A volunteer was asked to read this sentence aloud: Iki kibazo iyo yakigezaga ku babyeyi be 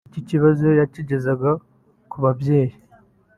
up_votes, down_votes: 1, 2